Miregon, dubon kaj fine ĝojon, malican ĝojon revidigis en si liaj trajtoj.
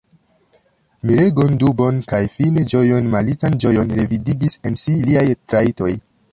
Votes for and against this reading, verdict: 0, 2, rejected